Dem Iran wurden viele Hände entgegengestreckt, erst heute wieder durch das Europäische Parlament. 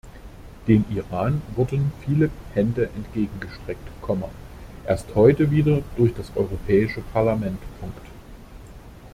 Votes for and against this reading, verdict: 0, 2, rejected